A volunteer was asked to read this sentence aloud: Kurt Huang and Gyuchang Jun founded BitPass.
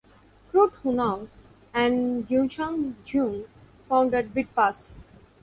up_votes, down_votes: 1, 2